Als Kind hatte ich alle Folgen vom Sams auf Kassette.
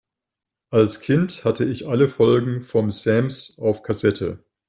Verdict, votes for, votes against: rejected, 0, 2